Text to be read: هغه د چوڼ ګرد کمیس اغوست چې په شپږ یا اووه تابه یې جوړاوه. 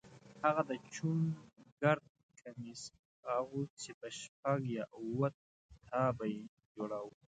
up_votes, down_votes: 1, 2